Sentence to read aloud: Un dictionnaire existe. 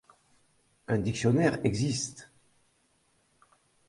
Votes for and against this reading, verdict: 2, 0, accepted